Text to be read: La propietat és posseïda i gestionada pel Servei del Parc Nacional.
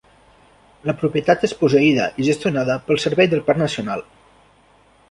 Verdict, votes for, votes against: rejected, 1, 2